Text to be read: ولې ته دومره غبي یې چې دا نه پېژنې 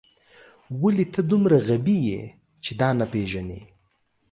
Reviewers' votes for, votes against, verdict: 3, 0, accepted